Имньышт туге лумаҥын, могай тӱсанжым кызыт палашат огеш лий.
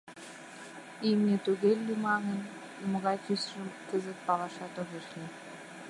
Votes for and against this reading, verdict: 0, 2, rejected